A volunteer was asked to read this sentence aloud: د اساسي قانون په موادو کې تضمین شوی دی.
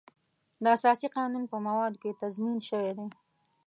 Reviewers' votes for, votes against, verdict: 2, 0, accepted